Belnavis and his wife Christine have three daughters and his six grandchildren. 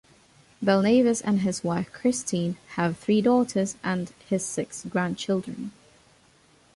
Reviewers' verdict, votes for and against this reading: accepted, 2, 0